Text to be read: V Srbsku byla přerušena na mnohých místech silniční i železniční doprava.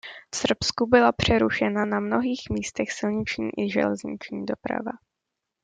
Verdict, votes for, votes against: accepted, 2, 0